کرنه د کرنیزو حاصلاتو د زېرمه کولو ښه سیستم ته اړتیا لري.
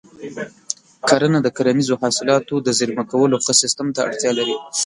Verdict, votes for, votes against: accepted, 5, 0